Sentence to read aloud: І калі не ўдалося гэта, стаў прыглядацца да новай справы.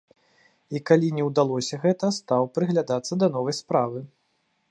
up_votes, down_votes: 2, 0